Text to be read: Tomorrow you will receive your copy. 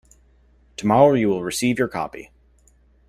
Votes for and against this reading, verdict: 2, 0, accepted